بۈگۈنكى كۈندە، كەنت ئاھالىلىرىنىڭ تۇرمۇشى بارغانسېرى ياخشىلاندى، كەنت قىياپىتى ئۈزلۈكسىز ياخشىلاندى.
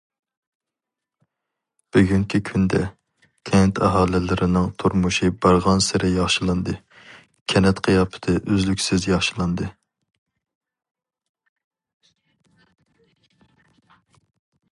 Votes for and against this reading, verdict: 2, 0, accepted